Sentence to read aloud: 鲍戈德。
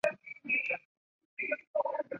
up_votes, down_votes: 4, 4